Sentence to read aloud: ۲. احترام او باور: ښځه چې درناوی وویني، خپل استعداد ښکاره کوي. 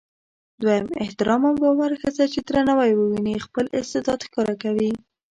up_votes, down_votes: 0, 2